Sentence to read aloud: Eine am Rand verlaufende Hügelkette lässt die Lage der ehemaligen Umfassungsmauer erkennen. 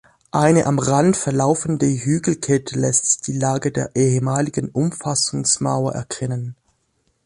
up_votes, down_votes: 2, 0